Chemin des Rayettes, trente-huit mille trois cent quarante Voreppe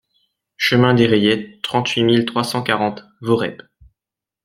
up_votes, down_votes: 2, 0